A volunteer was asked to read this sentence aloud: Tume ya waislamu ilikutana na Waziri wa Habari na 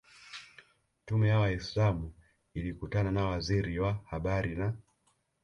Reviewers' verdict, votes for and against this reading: accepted, 2, 0